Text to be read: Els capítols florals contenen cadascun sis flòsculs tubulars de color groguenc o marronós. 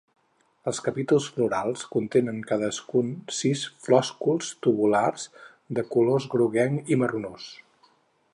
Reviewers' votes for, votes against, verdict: 2, 4, rejected